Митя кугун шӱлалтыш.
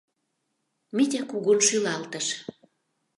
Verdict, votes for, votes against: accepted, 2, 0